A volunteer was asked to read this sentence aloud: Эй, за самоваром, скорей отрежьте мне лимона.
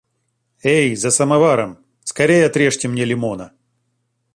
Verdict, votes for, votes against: accepted, 2, 0